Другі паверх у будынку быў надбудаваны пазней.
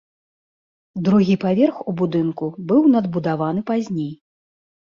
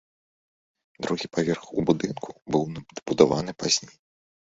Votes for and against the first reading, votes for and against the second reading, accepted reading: 2, 0, 1, 2, first